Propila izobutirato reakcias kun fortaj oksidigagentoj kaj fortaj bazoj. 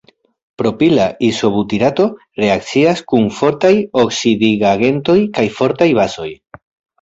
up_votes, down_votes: 0, 2